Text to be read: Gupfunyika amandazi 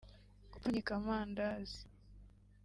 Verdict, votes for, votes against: accepted, 2, 0